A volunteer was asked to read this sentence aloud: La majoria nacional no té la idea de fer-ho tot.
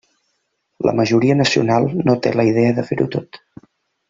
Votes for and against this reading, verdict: 3, 0, accepted